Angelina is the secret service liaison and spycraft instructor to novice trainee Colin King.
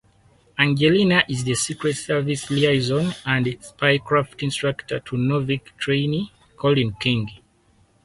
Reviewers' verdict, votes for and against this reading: accepted, 4, 2